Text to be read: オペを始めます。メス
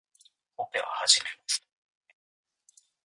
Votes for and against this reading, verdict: 1, 2, rejected